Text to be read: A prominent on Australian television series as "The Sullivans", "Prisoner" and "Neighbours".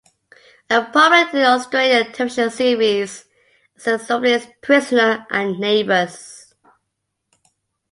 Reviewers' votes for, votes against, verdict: 1, 2, rejected